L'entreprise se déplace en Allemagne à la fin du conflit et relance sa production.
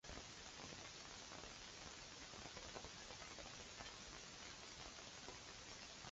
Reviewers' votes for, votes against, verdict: 0, 2, rejected